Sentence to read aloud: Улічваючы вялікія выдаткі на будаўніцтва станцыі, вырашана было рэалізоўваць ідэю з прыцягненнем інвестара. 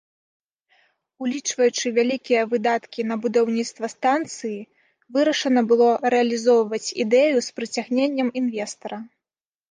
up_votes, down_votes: 2, 0